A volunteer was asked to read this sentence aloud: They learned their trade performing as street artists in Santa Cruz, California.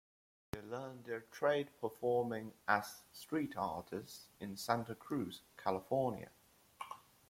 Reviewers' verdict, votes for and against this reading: rejected, 1, 2